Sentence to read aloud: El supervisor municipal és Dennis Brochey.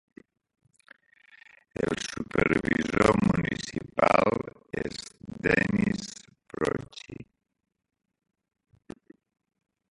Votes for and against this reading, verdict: 1, 2, rejected